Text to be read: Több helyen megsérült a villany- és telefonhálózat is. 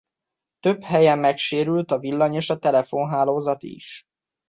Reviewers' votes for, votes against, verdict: 1, 2, rejected